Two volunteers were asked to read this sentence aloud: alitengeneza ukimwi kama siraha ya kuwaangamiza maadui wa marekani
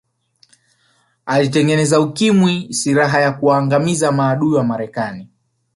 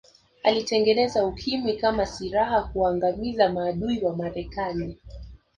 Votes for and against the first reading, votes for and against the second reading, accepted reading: 1, 2, 2, 1, second